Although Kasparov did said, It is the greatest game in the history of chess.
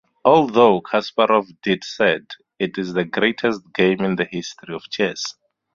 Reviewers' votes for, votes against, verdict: 2, 0, accepted